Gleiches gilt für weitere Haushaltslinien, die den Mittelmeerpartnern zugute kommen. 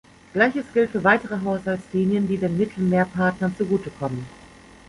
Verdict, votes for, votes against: accepted, 3, 0